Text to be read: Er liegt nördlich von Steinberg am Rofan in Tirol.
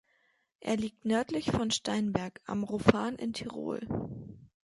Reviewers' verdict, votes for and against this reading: accepted, 2, 0